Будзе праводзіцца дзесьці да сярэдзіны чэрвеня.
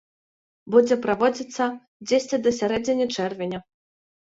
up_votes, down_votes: 2, 1